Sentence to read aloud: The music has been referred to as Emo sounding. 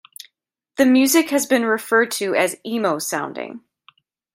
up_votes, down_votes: 2, 0